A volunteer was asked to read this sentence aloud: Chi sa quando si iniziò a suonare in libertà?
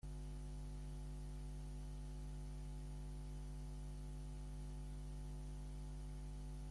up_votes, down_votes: 0, 2